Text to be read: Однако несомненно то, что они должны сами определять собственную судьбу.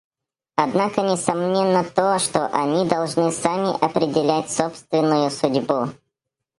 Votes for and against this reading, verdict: 2, 4, rejected